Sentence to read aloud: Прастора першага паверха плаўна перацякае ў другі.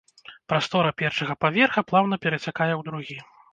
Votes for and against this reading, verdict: 2, 0, accepted